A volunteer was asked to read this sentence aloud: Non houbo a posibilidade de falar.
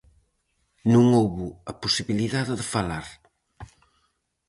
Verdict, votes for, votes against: accepted, 4, 0